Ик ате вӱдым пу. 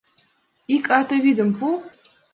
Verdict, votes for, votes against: accepted, 2, 0